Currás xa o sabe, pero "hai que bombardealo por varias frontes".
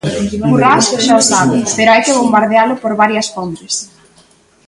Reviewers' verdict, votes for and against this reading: rejected, 0, 2